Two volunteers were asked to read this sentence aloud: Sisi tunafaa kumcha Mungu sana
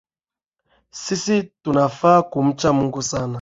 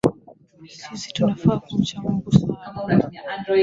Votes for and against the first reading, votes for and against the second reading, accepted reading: 2, 0, 1, 2, first